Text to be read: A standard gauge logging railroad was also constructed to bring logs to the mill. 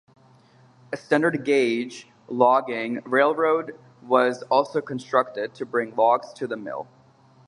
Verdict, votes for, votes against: rejected, 2, 2